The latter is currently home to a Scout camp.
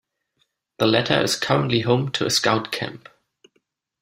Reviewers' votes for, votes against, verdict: 2, 0, accepted